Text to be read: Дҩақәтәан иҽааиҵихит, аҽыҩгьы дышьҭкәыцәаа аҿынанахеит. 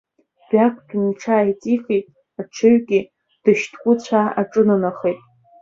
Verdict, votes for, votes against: rejected, 1, 2